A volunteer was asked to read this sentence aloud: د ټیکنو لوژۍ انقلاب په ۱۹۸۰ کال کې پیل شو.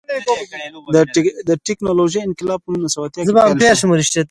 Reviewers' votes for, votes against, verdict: 0, 2, rejected